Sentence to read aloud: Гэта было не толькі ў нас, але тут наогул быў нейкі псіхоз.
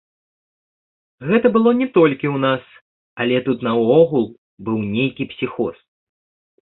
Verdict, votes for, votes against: rejected, 0, 2